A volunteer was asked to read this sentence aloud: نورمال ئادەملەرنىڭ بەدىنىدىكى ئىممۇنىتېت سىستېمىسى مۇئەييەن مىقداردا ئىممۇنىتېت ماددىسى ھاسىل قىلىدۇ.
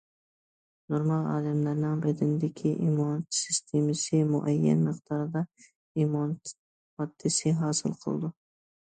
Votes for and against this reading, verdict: 1, 2, rejected